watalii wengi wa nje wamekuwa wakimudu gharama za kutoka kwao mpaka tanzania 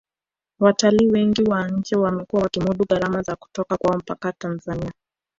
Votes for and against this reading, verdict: 0, 2, rejected